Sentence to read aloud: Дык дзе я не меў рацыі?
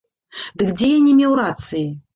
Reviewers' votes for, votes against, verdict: 2, 0, accepted